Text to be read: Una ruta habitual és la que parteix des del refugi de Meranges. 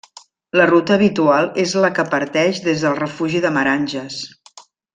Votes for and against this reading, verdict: 1, 2, rejected